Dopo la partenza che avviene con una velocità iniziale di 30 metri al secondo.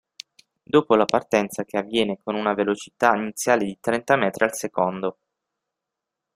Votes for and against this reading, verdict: 0, 2, rejected